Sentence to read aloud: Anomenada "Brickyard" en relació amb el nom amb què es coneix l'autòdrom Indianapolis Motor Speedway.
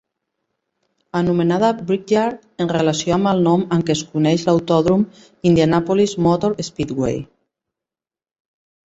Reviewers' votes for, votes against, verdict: 2, 0, accepted